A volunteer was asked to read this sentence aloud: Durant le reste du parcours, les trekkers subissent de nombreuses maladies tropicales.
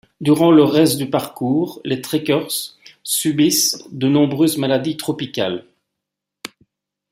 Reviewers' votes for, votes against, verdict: 2, 0, accepted